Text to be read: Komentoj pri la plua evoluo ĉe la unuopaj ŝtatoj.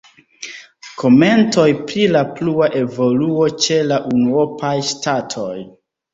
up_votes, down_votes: 1, 2